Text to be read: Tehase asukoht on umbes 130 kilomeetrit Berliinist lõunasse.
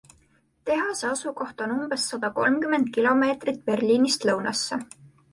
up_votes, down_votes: 0, 2